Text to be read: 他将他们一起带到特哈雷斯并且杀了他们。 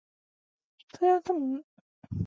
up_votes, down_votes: 0, 2